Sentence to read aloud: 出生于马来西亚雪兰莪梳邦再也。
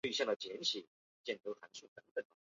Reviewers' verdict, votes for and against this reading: rejected, 0, 7